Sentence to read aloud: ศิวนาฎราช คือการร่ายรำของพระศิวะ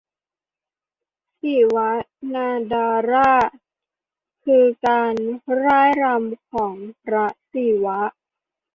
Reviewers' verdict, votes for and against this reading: rejected, 0, 2